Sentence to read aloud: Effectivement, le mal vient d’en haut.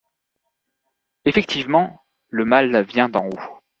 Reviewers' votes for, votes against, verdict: 2, 0, accepted